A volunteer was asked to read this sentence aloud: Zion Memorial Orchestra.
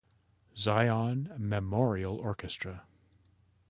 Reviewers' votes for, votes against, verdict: 2, 0, accepted